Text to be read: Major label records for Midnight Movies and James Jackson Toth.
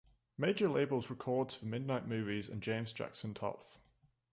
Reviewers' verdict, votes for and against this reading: rejected, 1, 2